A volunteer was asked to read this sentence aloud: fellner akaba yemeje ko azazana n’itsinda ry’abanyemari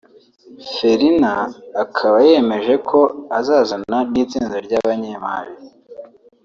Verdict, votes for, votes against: accepted, 2, 0